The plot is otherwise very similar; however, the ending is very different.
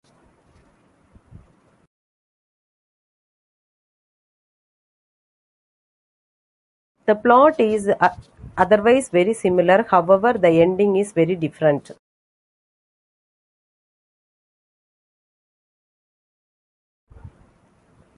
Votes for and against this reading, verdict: 0, 2, rejected